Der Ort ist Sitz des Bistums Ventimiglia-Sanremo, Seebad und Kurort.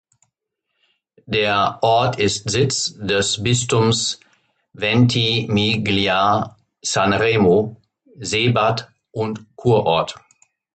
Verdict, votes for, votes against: accepted, 2, 0